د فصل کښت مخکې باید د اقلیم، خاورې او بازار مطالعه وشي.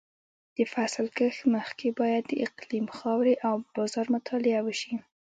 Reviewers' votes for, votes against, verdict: 2, 0, accepted